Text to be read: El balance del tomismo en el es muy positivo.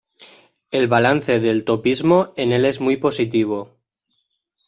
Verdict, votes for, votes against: rejected, 0, 2